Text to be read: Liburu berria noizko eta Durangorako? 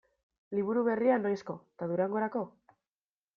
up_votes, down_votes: 2, 0